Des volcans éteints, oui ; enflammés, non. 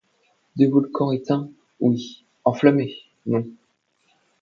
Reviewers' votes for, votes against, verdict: 2, 0, accepted